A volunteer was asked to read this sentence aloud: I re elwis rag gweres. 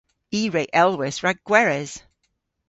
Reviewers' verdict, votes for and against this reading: accepted, 2, 0